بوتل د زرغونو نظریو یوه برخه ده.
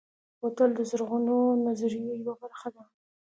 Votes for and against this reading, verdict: 2, 0, accepted